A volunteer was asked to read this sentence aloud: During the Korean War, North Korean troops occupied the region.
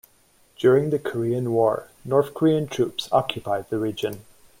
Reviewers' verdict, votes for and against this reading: accepted, 2, 0